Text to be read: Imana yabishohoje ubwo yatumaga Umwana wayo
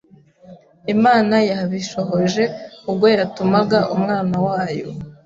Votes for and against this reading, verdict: 2, 0, accepted